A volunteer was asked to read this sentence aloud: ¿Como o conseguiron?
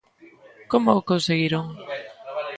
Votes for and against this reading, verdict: 1, 2, rejected